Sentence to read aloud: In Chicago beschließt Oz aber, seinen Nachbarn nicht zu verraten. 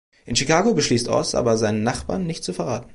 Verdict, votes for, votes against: accepted, 2, 0